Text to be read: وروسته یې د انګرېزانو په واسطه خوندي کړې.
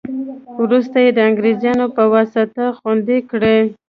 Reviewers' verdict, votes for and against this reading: rejected, 0, 2